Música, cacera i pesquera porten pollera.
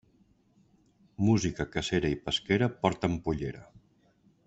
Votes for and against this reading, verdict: 3, 0, accepted